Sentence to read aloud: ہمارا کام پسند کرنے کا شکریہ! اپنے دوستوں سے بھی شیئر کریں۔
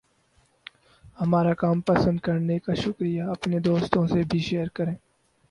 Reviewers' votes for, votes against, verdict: 4, 0, accepted